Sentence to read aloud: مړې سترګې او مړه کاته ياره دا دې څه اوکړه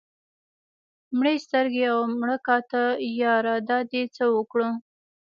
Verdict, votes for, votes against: accepted, 2, 0